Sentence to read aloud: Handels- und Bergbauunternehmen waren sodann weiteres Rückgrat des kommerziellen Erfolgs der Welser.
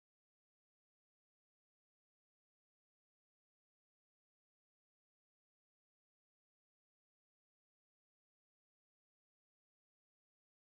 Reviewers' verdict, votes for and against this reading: rejected, 0, 2